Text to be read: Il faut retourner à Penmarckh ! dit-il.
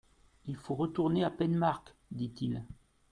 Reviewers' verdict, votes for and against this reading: accepted, 2, 0